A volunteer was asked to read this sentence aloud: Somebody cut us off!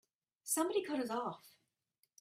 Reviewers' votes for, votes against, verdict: 4, 0, accepted